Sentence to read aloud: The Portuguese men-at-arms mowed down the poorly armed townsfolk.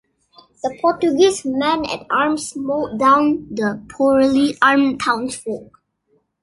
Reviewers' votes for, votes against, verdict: 2, 0, accepted